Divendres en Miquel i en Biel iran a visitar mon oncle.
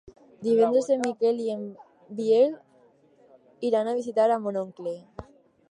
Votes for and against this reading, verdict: 2, 2, rejected